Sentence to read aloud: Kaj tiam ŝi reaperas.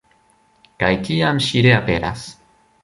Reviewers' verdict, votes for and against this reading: accepted, 2, 0